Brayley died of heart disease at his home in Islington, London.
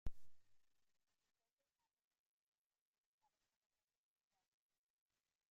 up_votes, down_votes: 0, 2